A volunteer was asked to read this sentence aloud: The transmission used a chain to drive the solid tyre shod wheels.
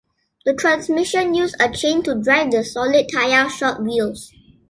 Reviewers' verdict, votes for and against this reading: accepted, 2, 0